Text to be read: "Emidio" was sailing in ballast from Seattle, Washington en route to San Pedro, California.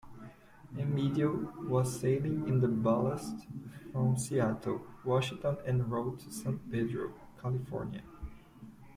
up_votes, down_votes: 1, 2